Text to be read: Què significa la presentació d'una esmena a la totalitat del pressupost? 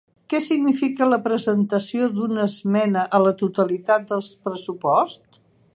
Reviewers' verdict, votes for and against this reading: rejected, 1, 2